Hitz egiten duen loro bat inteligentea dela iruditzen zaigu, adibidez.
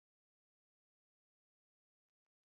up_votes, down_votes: 0, 2